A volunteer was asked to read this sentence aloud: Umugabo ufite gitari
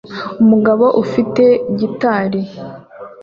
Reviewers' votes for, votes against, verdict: 2, 0, accepted